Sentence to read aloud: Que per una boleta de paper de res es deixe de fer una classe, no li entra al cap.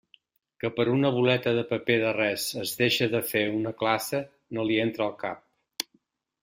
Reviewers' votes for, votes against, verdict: 1, 2, rejected